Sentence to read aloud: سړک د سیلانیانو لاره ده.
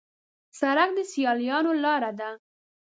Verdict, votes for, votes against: rejected, 1, 2